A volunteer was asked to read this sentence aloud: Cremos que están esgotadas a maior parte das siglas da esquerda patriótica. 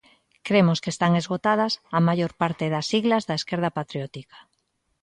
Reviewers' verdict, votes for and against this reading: accepted, 2, 0